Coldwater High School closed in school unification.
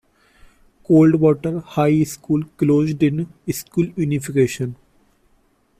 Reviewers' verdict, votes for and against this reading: rejected, 0, 2